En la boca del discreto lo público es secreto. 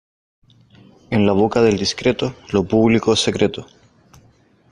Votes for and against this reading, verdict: 2, 0, accepted